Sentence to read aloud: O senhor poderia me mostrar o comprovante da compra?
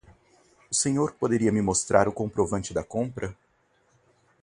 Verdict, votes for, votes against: accepted, 4, 0